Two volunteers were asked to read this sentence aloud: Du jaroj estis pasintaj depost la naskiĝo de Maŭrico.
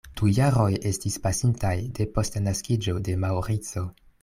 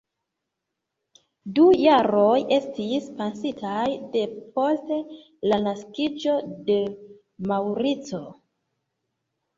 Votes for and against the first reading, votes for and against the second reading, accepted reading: 2, 0, 1, 2, first